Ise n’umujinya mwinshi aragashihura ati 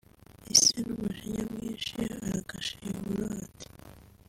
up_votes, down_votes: 2, 1